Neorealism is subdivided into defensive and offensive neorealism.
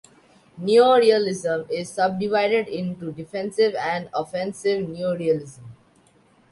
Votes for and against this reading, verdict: 2, 0, accepted